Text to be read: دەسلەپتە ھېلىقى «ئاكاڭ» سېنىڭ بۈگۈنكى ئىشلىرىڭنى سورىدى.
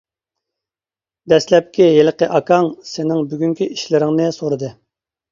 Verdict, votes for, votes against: rejected, 1, 2